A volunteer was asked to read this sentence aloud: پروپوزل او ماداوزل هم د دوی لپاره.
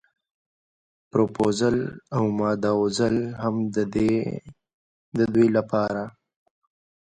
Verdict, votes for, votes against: rejected, 0, 2